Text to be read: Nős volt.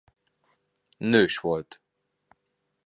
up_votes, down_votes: 2, 0